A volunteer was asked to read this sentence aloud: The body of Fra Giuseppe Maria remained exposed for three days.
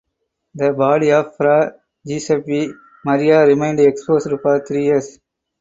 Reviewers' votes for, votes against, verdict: 0, 2, rejected